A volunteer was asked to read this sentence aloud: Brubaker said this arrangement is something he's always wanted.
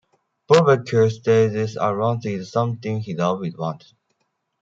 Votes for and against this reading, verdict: 0, 2, rejected